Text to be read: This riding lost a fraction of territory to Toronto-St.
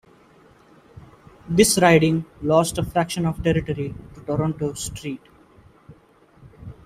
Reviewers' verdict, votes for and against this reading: rejected, 1, 2